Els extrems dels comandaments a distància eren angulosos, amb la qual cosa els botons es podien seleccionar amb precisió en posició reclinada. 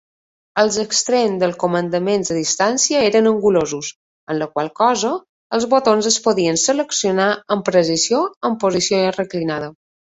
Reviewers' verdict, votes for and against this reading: accepted, 2, 0